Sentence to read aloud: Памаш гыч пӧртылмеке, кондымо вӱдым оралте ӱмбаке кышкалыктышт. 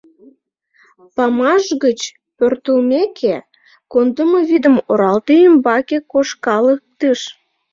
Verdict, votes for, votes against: rejected, 0, 2